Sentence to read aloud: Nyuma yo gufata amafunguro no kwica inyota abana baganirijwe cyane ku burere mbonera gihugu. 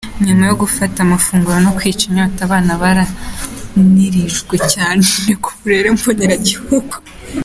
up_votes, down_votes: 1, 2